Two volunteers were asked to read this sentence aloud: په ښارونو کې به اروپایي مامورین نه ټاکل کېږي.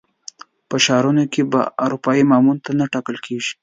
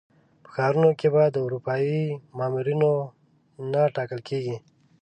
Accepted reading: first